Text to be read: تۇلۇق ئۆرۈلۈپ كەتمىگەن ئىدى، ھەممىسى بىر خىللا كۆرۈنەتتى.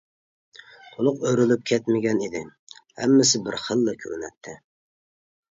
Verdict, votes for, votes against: accepted, 2, 0